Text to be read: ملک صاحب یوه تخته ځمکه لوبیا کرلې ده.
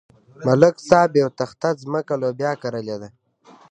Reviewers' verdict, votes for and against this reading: accepted, 2, 0